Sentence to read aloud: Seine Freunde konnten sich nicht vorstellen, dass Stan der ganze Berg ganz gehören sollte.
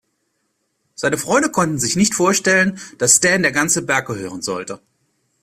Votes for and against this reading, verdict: 0, 2, rejected